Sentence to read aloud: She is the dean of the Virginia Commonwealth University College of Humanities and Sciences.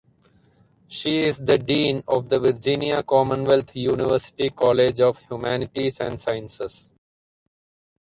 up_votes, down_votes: 2, 2